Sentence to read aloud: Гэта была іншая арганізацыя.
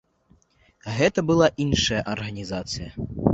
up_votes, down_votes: 2, 0